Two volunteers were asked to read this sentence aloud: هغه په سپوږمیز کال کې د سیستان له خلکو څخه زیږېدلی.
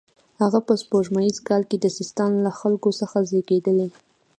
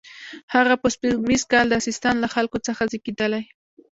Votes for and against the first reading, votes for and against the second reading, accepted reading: 2, 0, 0, 2, first